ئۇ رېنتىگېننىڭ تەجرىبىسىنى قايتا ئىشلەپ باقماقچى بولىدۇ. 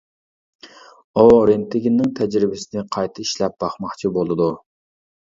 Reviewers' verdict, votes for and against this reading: accepted, 2, 0